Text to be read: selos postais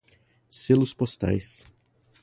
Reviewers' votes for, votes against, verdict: 4, 0, accepted